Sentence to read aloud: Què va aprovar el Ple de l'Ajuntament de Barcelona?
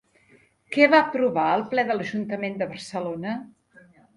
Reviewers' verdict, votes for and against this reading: accepted, 2, 0